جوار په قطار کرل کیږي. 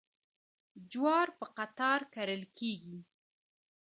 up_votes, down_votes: 0, 2